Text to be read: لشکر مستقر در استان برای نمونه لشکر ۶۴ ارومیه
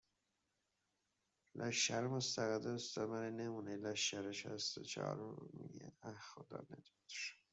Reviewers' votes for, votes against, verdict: 0, 2, rejected